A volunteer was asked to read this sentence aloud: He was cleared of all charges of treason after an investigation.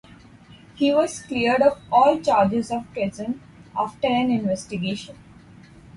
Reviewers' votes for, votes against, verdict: 2, 2, rejected